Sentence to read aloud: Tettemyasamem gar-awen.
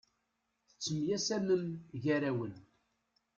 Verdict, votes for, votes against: accepted, 2, 0